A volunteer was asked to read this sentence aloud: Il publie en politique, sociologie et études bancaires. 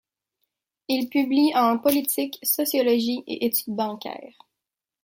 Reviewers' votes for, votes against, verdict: 2, 0, accepted